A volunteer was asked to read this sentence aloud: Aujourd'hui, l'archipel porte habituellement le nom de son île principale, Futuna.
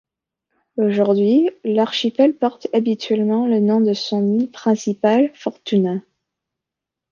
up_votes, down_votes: 1, 2